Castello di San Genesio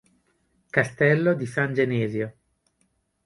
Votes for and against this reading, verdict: 2, 0, accepted